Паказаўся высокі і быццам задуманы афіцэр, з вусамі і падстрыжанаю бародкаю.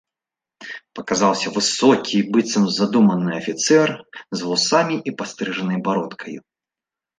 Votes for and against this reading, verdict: 1, 2, rejected